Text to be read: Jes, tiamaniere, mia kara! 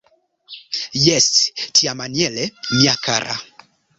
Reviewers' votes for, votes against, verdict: 1, 2, rejected